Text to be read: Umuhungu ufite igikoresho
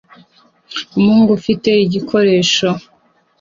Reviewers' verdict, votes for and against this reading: accepted, 2, 0